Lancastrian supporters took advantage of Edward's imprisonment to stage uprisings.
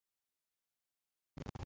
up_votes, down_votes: 1, 2